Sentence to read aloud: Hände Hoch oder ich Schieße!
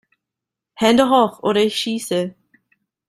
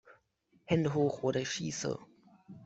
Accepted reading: second